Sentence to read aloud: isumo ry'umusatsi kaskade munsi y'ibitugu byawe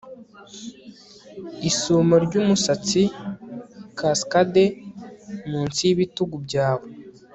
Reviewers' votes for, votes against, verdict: 2, 0, accepted